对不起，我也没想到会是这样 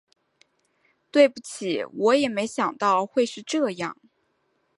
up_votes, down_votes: 2, 0